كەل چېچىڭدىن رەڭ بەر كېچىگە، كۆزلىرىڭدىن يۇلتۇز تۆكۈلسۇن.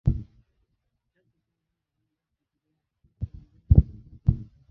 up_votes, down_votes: 0, 2